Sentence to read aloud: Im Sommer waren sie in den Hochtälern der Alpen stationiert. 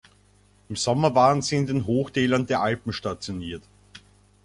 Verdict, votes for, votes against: accepted, 2, 0